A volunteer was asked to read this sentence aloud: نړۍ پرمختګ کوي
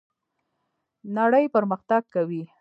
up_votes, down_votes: 1, 2